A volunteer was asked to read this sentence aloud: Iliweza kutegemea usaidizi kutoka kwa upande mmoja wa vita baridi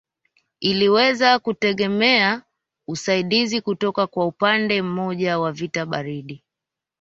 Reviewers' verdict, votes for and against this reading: accepted, 2, 0